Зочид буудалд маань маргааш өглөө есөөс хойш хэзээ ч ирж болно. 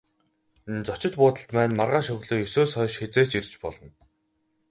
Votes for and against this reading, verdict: 2, 2, rejected